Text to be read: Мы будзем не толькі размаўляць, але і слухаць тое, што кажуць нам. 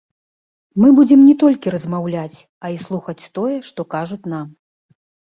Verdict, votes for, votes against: rejected, 1, 2